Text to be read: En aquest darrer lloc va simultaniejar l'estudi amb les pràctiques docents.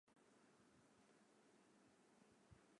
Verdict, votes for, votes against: rejected, 0, 3